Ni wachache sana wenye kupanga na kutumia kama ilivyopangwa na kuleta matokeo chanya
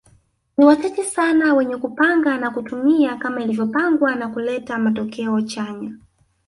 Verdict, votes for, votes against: accepted, 2, 1